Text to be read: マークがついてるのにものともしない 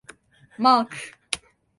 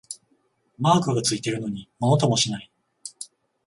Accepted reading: second